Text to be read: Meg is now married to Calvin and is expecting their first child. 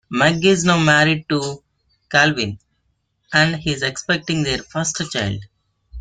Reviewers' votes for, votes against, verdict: 3, 0, accepted